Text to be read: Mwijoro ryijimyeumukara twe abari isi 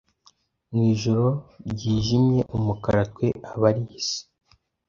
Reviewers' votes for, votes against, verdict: 2, 0, accepted